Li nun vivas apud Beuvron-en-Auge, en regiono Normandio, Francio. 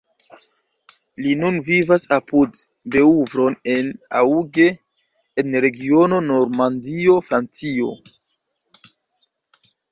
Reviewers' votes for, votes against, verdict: 2, 0, accepted